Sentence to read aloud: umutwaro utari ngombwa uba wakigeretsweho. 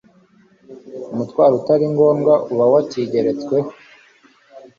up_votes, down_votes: 2, 0